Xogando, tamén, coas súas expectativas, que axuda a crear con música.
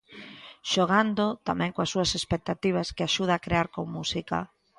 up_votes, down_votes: 2, 0